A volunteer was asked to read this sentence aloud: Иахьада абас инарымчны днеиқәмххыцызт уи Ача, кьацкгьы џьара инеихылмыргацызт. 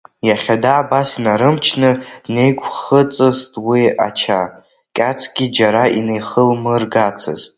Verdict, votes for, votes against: rejected, 1, 2